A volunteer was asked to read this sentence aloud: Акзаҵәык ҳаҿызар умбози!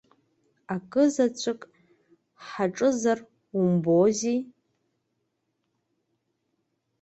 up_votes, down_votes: 2, 1